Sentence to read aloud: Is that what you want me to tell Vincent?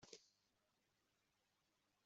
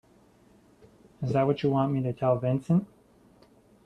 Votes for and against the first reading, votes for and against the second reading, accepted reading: 0, 3, 2, 0, second